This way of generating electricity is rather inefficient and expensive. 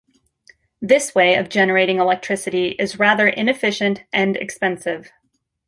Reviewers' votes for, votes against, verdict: 2, 0, accepted